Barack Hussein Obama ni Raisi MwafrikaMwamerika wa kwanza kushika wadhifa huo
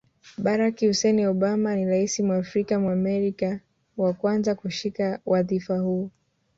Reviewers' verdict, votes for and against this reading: rejected, 1, 2